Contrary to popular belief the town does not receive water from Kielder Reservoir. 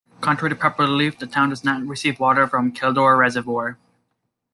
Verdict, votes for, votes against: accepted, 2, 1